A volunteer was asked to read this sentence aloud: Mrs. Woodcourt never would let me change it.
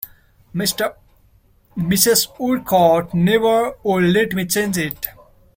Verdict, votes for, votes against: rejected, 0, 2